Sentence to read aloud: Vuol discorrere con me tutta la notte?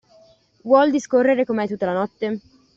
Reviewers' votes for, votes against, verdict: 2, 0, accepted